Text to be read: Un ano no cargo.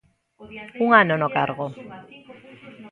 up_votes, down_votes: 1, 2